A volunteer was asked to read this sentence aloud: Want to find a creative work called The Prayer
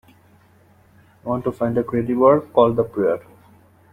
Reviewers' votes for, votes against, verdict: 1, 2, rejected